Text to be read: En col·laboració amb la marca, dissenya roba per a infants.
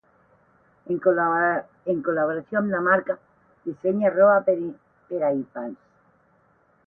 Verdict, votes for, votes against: rejected, 0, 8